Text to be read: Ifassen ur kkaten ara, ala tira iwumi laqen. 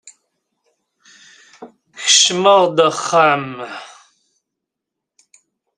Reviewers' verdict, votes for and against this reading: rejected, 0, 2